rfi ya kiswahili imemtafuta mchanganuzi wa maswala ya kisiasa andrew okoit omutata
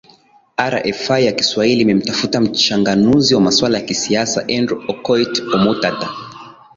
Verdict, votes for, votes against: accepted, 2, 0